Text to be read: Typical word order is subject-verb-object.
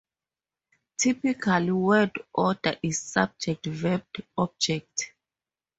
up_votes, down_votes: 4, 0